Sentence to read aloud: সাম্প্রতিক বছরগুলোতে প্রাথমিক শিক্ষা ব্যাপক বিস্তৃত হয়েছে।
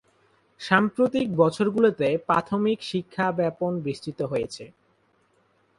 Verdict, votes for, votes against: rejected, 2, 2